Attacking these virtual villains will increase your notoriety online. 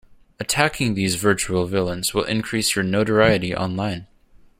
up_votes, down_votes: 2, 0